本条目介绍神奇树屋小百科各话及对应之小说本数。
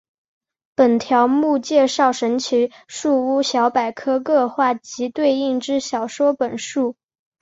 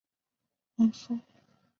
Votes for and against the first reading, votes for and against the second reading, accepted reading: 2, 0, 1, 3, first